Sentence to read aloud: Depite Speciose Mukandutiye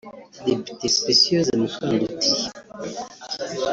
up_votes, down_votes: 1, 2